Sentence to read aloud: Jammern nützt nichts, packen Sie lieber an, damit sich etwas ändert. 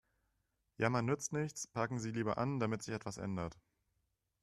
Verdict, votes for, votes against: accepted, 2, 0